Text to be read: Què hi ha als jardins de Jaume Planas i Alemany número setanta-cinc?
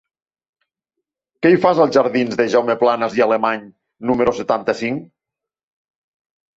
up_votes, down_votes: 0, 2